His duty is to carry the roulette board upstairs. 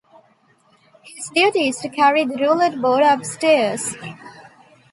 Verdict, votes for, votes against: accepted, 2, 0